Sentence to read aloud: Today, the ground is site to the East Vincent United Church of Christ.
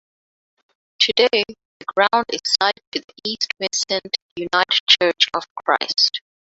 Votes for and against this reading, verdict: 0, 2, rejected